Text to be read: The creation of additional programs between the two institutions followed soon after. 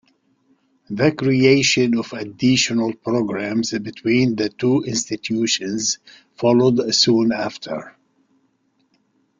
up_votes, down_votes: 2, 0